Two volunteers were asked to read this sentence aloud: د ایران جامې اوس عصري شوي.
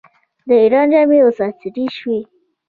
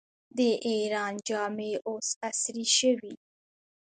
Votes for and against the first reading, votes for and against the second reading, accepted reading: 1, 2, 2, 1, second